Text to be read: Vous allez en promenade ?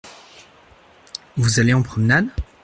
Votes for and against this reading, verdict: 2, 0, accepted